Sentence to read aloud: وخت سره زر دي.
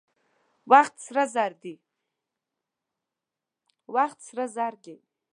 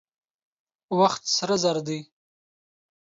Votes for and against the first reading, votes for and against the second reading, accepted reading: 1, 2, 3, 0, second